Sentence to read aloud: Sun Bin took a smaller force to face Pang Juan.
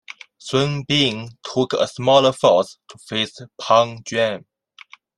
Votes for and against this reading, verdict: 0, 2, rejected